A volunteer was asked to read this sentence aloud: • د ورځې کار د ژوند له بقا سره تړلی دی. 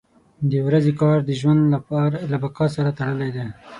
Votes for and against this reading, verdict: 3, 6, rejected